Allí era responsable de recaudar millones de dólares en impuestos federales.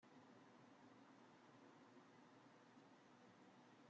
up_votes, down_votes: 0, 2